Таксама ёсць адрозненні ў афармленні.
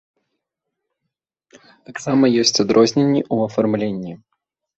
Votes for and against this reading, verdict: 2, 0, accepted